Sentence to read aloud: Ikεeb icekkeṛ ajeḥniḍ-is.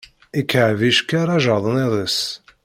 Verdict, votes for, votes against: rejected, 1, 2